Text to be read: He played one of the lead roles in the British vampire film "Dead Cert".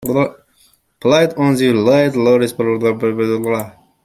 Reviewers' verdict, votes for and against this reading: rejected, 0, 2